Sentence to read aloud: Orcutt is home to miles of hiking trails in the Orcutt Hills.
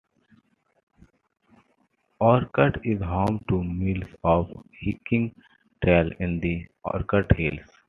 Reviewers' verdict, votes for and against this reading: accepted, 2, 1